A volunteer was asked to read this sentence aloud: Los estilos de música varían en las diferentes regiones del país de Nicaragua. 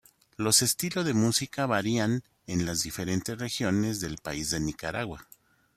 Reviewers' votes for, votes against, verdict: 2, 0, accepted